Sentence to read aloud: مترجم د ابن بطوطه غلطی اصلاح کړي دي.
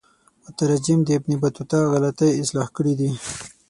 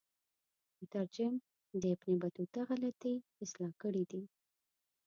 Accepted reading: first